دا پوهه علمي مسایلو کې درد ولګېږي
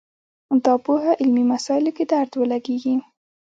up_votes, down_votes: 0, 2